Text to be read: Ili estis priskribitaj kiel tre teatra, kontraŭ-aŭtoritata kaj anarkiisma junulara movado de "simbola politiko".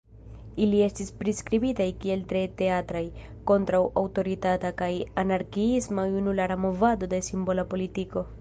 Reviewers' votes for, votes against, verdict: 1, 2, rejected